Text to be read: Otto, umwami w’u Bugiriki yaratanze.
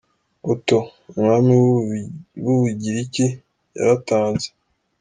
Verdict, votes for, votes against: accepted, 2, 1